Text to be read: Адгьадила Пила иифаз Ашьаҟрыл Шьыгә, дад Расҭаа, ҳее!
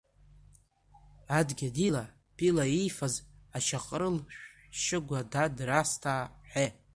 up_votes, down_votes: 1, 2